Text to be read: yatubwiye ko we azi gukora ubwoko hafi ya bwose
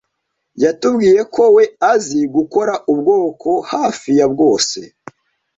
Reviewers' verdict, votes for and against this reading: accepted, 2, 0